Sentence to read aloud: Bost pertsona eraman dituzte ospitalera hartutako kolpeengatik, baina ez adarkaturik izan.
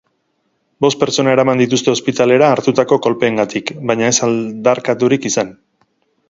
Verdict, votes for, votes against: rejected, 2, 4